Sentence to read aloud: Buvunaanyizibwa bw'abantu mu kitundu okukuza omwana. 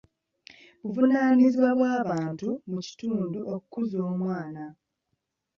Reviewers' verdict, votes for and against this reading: accepted, 2, 1